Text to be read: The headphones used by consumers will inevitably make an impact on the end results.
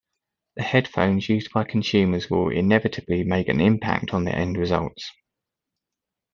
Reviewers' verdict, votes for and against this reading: accepted, 2, 0